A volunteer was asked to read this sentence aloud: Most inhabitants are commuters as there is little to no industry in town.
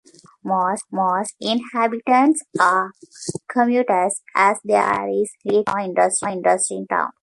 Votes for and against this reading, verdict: 1, 2, rejected